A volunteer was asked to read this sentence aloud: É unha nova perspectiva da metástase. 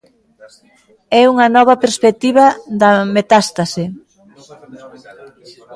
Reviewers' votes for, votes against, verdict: 0, 2, rejected